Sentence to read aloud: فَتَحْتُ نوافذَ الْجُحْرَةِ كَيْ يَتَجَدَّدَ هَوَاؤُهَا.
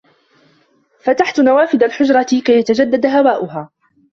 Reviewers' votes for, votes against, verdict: 2, 0, accepted